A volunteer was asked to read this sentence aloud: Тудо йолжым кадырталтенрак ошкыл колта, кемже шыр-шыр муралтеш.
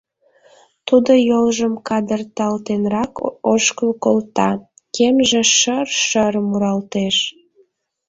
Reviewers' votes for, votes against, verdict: 1, 2, rejected